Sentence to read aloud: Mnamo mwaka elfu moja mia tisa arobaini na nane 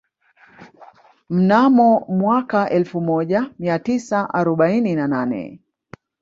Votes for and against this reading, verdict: 1, 2, rejected